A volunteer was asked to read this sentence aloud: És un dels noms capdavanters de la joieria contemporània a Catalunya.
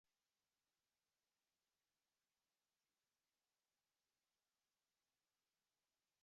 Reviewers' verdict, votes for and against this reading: rejected, 1, 3